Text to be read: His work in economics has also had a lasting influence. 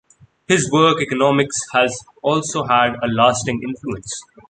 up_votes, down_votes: 0, 2